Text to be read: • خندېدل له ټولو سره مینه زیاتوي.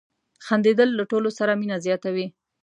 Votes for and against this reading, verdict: 2, 0, accepted